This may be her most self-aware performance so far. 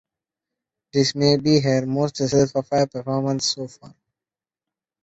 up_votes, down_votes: 1, 2